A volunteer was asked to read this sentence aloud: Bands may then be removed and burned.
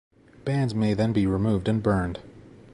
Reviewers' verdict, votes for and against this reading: accepted, 2, 0